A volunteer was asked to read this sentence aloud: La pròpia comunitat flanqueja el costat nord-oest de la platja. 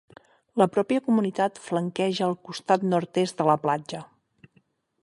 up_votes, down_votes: 0, 6